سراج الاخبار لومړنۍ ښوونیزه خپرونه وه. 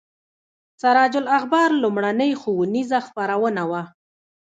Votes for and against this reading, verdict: 1, 2, rejected